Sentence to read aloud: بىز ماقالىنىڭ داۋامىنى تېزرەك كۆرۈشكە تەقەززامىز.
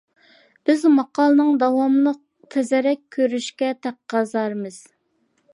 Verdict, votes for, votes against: rejected, 1, 2